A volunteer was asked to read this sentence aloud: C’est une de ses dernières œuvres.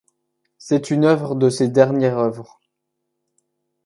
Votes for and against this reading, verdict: 1, 2, rejected